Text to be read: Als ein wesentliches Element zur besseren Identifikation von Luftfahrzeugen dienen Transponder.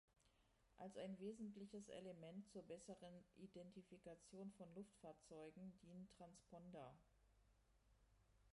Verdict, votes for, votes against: rejected, 1, 2